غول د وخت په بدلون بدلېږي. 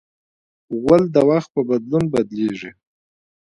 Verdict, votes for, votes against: rejected, 0, 2